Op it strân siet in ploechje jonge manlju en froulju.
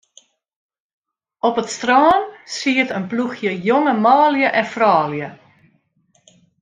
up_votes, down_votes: 2, 0